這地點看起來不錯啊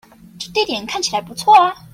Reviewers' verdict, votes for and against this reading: rejected, 1, 2